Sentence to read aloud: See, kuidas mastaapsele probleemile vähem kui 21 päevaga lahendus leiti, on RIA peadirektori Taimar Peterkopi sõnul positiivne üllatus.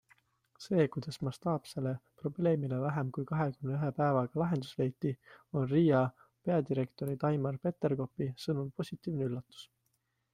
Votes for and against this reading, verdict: 0, 2, rejected